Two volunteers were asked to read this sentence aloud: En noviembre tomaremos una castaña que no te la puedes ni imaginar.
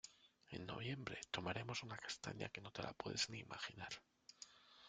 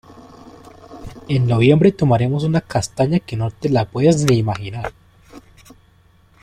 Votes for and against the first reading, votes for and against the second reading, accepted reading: 2, 1, 1, 2, first